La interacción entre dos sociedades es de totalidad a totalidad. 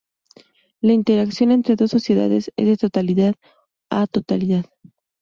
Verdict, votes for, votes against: rejected, 2, 2